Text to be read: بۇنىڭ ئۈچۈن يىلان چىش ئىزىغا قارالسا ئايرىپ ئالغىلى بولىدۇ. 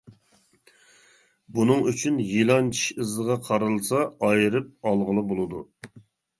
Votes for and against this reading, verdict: 2, 0, accepted